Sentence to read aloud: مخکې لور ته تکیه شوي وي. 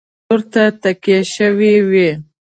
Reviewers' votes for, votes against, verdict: 1, 2, rejected